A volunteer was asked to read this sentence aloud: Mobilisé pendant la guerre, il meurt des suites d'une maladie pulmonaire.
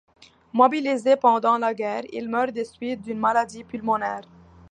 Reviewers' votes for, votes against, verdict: 2, 0, accepted